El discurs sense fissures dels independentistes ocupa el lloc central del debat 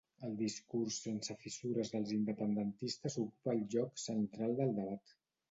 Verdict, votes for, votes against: accepted, 2, 0